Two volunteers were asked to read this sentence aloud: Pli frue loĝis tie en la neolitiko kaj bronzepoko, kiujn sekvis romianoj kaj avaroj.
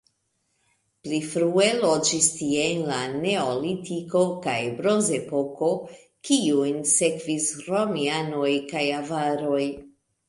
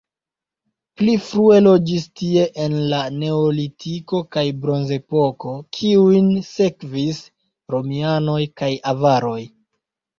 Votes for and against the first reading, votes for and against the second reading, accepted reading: 2, 0, 0, 2, first